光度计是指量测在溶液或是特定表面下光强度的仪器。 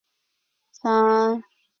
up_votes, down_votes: 0, 2